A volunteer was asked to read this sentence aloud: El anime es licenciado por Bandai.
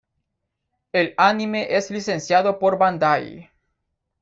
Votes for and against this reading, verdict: 2, 0, accepted